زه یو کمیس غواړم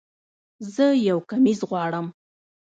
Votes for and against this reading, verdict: 1, 2, rejected